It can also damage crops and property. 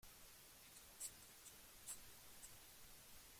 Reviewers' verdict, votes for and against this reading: rejected, 0, 2